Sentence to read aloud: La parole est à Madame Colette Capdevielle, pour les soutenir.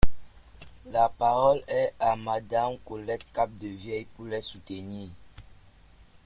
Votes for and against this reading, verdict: 2, 0, accepted